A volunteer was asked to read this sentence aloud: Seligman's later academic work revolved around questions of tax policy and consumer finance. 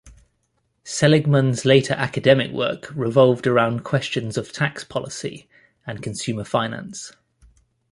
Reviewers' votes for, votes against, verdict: 2, 0, accepted